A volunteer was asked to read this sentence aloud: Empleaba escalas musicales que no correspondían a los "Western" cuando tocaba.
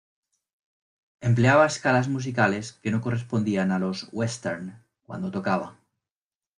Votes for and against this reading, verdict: 2, 0, accepted